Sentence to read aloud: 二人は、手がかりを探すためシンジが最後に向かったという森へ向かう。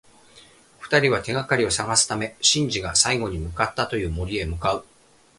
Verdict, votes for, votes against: accepted, 2, 0